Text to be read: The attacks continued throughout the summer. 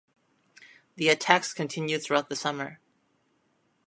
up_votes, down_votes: 2, 0